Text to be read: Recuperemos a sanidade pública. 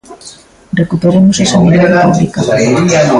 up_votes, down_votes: 0, 2